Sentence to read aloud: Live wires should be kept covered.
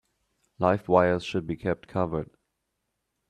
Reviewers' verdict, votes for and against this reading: accepted, 2, 0